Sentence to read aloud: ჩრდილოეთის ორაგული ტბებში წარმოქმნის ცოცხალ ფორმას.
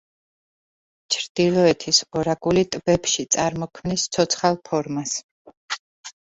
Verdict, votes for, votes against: accepted, 2, 0